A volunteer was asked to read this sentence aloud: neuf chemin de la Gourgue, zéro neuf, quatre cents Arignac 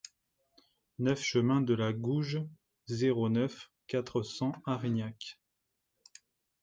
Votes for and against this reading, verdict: 0, 2, rejected